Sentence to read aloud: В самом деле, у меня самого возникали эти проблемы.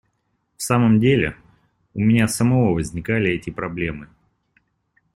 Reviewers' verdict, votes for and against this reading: accepted, 2, 0